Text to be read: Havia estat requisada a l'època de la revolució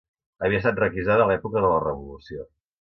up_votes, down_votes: 3, 0